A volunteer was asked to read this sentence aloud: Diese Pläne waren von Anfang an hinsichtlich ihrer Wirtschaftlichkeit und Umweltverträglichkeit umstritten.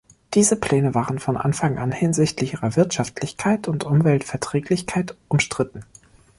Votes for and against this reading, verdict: 2, 0, accepted